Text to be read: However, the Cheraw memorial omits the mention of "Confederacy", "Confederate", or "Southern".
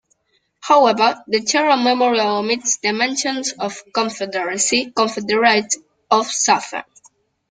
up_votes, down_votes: 1, 2